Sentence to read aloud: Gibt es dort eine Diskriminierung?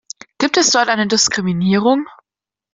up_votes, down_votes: 3, 0